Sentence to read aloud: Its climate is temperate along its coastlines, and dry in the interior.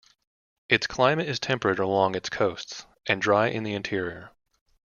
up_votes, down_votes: 1, 2